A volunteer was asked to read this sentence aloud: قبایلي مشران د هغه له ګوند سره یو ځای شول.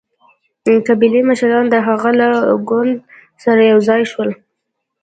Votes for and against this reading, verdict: 2, 0, accepted